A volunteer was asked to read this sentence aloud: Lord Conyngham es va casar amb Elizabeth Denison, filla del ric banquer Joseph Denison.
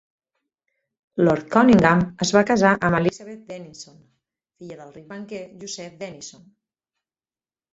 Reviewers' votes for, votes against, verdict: 4, 2, accepted